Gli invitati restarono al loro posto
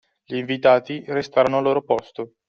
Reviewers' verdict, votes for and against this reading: rejected, 0, 2